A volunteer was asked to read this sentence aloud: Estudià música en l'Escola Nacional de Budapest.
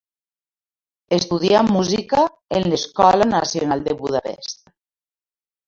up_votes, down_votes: 2, 0